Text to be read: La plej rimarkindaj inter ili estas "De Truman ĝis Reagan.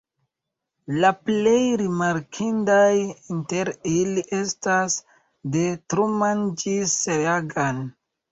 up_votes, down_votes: 2, 0